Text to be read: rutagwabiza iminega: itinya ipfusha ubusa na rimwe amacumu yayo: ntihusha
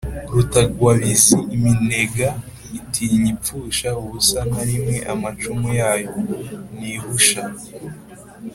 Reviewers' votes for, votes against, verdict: 3, 0, accepted